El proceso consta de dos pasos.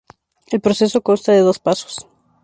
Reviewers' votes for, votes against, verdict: 2, 0, accepted